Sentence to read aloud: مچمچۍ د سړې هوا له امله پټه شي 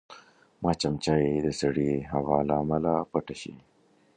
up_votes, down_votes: 2, 0